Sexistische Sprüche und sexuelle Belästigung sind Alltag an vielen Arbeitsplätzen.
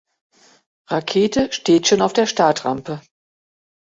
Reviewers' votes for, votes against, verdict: 0, 2, rejected